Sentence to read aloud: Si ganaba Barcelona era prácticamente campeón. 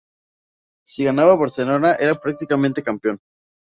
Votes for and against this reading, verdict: 2, 0, accepted